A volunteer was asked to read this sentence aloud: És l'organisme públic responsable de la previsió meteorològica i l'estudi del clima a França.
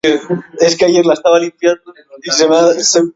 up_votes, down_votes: 0, 2